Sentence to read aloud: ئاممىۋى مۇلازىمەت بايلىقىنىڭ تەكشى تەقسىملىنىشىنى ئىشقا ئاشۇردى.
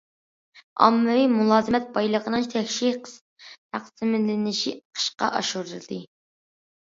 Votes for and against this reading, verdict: 0, 2, rejected